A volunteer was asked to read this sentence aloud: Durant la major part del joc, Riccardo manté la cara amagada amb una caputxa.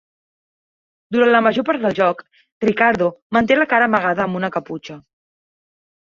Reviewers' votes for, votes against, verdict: 1, 2, rejected